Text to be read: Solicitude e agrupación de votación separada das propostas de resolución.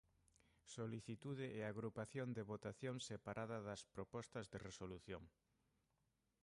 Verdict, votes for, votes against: rejected, 1, 2